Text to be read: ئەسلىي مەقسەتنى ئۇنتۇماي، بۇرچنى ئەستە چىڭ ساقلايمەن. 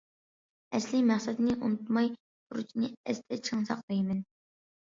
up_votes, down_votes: 2, 1